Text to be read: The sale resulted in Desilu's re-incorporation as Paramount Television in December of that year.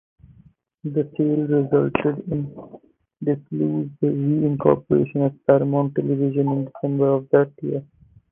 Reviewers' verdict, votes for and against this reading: accepted, 2, 0